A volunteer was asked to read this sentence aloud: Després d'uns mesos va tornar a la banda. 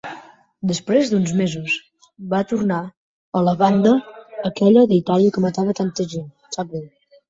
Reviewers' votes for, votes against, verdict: 1, 2, rejected